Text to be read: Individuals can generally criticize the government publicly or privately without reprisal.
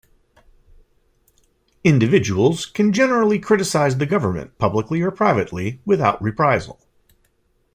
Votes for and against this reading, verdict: 2, 0, accepted